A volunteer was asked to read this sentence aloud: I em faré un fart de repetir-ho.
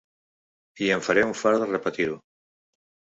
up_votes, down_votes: 2, 0